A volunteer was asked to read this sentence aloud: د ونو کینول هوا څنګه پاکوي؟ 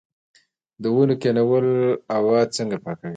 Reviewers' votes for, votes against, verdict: 2, 1, accepted